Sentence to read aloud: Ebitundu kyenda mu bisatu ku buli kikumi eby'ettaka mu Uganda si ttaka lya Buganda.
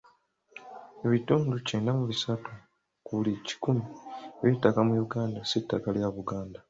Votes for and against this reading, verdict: 2, 0, accepted